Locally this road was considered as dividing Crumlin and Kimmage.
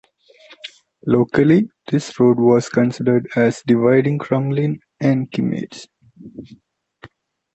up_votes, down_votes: 2, 0